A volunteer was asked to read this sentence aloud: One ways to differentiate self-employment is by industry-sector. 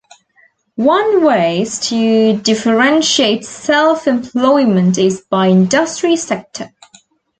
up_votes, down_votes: 2, 0